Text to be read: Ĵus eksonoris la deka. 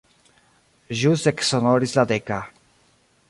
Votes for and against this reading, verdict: 0, 2, rejected